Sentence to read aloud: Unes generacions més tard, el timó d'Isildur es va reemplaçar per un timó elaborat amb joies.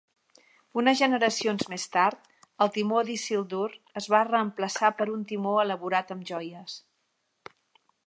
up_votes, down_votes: 4, 0